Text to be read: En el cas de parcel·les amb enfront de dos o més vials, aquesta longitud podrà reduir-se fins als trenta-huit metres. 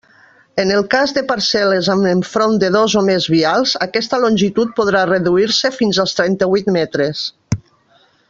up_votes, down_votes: 3, 0